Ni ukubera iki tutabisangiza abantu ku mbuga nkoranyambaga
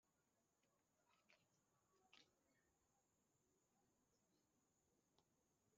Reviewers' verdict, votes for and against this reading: rejected, 0, 2